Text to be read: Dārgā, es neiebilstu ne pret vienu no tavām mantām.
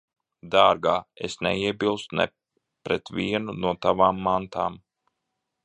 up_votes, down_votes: 0, 2